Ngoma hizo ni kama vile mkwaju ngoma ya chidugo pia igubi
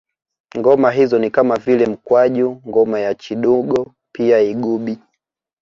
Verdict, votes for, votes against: accepted, 2, 0